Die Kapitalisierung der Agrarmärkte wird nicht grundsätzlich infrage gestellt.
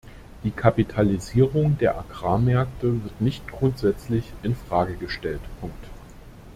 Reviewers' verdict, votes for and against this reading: rejected, 0, 2